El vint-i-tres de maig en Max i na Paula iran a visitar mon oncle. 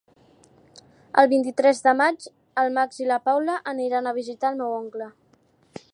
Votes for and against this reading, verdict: 0, 2, rejected